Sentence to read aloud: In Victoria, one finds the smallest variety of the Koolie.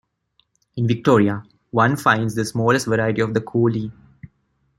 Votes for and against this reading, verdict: 1, 2, rejected